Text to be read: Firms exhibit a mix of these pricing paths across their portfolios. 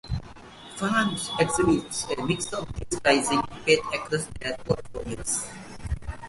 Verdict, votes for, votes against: rejected, 1, 2